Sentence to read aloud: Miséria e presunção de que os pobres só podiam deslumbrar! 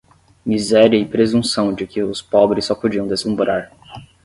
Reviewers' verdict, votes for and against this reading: rejected, 0, 5